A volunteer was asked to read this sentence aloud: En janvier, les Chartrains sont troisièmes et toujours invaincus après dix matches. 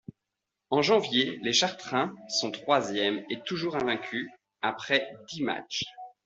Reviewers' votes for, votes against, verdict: 2, 0, accepted